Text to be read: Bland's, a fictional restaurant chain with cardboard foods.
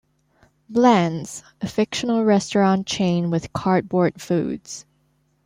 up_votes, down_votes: 2, 0